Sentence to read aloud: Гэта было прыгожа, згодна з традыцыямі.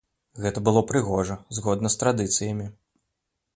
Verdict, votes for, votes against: accepted, 2, 0